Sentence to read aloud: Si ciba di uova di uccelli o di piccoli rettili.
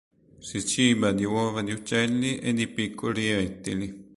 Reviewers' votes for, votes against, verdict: 0, 2, rejected